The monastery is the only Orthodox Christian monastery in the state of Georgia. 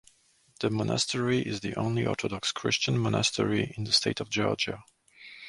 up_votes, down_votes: 2, 0